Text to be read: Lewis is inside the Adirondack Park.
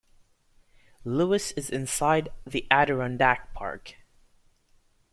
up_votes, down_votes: 2, 0